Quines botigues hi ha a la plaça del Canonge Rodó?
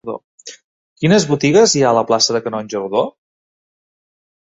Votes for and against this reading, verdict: 0, 2, rejected